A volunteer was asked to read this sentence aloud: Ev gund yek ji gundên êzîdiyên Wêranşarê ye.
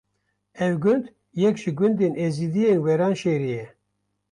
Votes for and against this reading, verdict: 1, 2, rejected